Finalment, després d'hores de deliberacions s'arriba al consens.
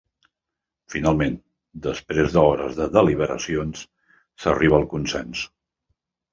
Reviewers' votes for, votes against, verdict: 1, 2, rejected